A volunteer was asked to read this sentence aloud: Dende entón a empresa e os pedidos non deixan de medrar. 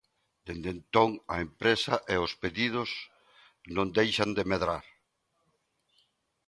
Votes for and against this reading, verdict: 2, 0, accepted